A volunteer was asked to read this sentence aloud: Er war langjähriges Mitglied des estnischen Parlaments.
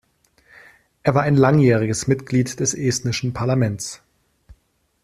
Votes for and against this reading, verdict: 1, 2, rejected